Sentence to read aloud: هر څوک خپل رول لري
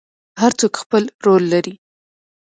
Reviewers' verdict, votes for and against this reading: accepted, 2, 0